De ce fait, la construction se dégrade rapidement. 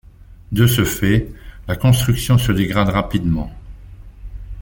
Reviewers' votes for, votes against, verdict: 2, 0, accepted